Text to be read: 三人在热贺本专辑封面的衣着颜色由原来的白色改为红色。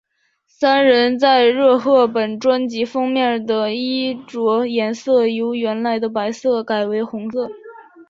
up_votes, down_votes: 2, 0